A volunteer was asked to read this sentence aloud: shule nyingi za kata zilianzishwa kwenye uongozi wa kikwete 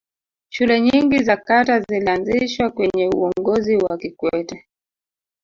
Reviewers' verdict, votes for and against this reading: rejected, 1, 2